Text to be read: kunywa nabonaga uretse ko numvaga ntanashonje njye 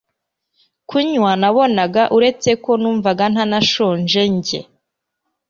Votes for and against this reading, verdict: 2, 0, accepted